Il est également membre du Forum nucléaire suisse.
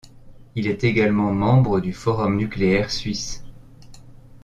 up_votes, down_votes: 2, 0